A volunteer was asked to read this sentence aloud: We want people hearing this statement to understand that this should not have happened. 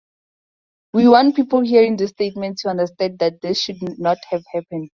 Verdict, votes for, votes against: accepted, 4, 2